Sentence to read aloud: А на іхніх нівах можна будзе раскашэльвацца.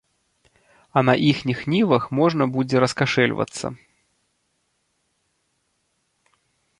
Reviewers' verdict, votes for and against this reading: accepted, 2, 0